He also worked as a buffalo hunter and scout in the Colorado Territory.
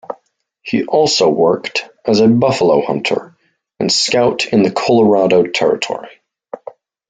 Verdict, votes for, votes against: accepted, 2, 0